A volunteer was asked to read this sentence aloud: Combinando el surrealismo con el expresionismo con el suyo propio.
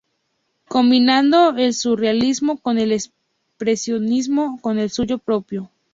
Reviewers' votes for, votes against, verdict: 2, 0, accepted